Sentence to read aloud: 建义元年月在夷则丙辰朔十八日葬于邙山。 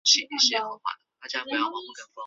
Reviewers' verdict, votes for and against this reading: rejected, 0, 5